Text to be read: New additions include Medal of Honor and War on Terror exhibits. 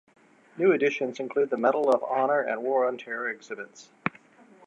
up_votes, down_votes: 3, 0